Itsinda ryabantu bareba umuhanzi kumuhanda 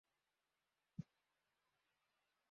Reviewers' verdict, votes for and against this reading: rejected, 0, 2